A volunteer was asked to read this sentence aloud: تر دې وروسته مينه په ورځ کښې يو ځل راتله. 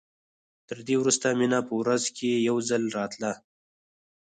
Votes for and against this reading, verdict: 2, 4, rejected